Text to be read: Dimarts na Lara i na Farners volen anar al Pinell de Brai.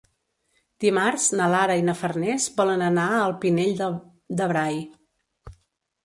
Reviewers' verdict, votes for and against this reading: rejected, 0, 2